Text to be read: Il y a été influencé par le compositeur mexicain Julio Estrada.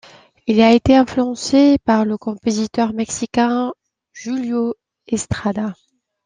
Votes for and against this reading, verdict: 2, 0, accepted